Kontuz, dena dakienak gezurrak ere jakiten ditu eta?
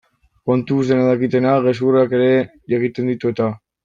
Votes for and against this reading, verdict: 0, 2, rejected